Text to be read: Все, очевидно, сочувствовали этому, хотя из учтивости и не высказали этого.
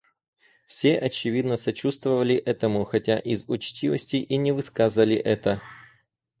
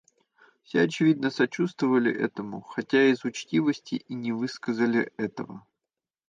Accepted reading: second